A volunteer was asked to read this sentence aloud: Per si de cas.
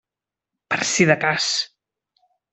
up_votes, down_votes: 3, 1